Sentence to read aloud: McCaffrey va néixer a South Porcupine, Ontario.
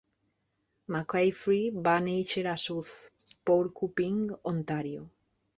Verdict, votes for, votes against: rejected, 0, 2